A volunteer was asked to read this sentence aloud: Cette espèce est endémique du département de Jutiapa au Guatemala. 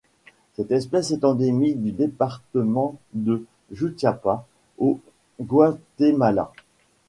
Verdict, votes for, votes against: rejected, 0, 2